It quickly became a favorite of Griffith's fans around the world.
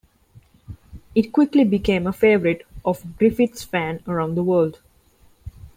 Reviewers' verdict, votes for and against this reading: rejected, 1, 2